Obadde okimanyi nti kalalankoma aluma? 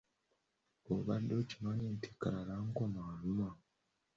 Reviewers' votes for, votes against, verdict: 2, 0, accepted